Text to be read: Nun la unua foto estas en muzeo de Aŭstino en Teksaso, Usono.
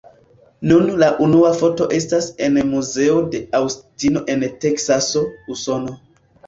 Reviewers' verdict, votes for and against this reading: accepted, 2, 0